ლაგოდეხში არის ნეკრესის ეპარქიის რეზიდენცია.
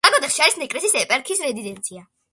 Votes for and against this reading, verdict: 2, 0, accepted